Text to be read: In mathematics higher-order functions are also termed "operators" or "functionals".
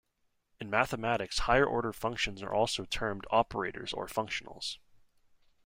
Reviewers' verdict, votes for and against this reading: accepted, 2, 0